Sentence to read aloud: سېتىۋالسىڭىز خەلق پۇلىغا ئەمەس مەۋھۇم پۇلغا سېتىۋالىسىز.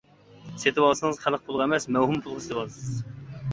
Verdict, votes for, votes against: rejected, 0, 2